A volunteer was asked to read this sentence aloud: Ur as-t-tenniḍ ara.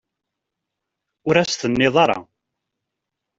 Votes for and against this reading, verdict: 2, 0, accepted